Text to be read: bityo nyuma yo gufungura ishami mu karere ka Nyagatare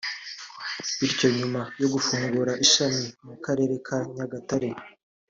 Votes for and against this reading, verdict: 2, 1, accepted